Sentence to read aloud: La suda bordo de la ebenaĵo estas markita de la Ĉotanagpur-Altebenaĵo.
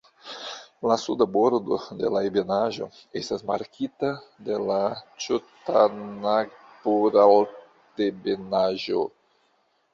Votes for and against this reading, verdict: 1, 2, rejected